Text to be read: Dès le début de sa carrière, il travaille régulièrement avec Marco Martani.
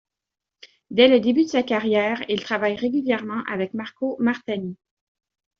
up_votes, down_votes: 2, 0